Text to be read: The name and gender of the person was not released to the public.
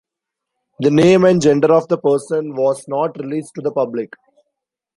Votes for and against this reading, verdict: 2, 0, accepted